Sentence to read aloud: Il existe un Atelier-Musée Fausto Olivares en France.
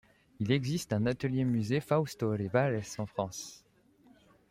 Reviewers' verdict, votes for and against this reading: accepted, 2, 0